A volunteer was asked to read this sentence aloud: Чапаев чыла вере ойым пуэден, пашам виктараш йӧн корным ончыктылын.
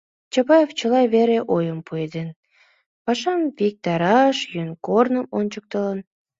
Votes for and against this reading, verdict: 2, 0, accepted